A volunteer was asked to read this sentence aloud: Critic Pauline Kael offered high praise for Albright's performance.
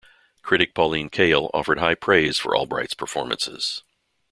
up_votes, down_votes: 0, 2